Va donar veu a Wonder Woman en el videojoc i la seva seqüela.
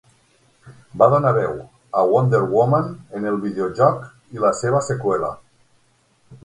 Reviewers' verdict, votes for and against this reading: accepted, 9, 0